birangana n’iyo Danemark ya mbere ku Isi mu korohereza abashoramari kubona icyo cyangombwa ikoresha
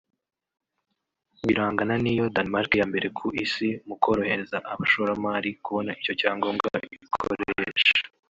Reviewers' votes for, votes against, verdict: 1, 4, rejected